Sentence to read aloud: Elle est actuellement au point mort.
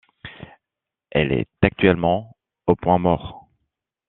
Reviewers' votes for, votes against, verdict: 2, 1, accepted